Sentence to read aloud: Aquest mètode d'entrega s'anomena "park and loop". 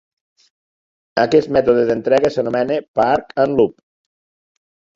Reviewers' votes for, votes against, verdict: 0, 2, rejected